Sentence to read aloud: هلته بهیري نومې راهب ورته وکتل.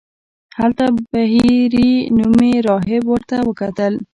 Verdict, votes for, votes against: rejected, 1, 2